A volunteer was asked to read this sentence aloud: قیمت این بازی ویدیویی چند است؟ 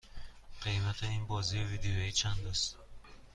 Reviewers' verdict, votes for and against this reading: accepted, 3, 0